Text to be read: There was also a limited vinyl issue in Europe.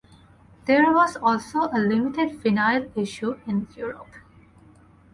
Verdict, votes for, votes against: accepted, 4, 0